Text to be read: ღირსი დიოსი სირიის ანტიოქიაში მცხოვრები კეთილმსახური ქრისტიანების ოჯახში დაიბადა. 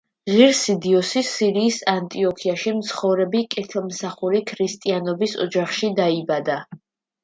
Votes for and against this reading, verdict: 2, 0, accepted